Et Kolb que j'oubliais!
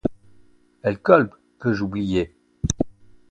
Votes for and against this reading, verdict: 0, 2, rejected